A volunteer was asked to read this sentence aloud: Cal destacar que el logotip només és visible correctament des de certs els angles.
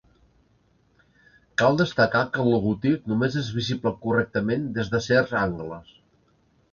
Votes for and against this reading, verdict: 0, 2, rejected